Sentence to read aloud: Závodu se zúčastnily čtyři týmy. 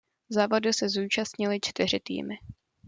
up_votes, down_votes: 2, 0